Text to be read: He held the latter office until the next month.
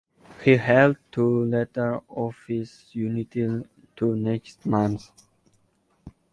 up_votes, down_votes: 1, 2